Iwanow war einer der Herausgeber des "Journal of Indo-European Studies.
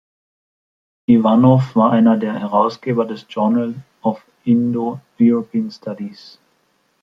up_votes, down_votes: 2, 0